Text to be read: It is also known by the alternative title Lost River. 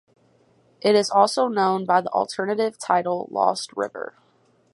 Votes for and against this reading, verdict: 6, 0, accepted